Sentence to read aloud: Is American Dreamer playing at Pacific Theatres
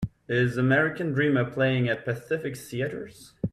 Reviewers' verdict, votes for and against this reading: accepted, 2, 0